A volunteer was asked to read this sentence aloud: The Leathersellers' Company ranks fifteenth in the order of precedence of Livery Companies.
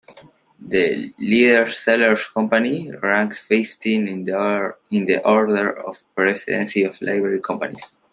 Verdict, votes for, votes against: rejected, 0, 2